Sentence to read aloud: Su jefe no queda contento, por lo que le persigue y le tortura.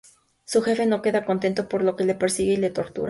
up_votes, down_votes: 2, 0